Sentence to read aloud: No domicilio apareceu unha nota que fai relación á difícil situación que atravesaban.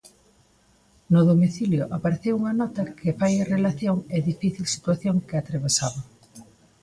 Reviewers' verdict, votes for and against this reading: rejected, 1, 2